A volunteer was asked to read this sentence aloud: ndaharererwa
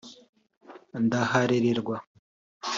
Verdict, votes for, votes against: accepted, 3, 0